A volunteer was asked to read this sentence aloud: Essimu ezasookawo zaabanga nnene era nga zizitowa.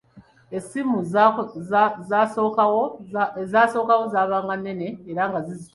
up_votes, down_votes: 0, 3